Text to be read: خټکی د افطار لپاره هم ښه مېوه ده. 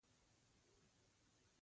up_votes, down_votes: 0, 2